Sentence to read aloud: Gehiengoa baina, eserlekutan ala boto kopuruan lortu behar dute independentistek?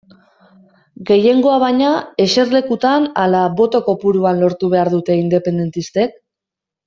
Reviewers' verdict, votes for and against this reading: accepted, 2, 0